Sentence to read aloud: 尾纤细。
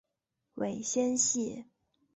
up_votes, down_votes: 2, 1